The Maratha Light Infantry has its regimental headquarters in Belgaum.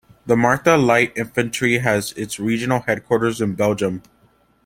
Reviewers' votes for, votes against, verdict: 1, 2, rejected